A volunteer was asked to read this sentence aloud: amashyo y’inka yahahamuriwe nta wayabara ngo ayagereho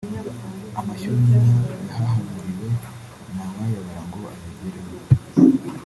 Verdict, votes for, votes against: rejected, 0, 2